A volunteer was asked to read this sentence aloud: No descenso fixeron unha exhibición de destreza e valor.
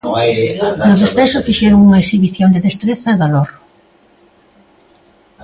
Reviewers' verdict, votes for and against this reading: rejected, 1, 2